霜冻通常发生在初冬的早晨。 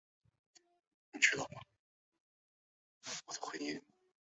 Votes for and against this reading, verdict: 1, 2, rejected